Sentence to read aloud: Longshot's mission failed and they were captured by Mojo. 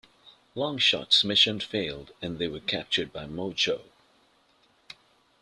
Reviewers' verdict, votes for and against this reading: accepted, 2, 0